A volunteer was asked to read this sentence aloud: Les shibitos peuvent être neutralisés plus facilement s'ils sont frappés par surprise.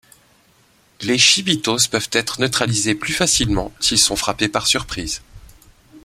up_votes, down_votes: 2, 1